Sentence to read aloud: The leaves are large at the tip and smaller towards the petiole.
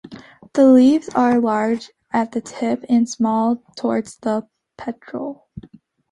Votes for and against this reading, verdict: 2, 1, accepted